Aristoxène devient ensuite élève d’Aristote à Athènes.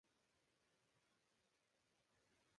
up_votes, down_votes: 0, 2